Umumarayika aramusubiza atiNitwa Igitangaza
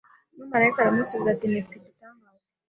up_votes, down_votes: 1, 2